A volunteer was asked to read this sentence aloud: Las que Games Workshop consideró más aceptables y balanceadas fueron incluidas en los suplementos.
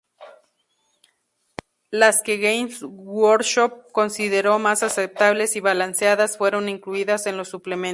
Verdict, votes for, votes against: rejected, 0, 2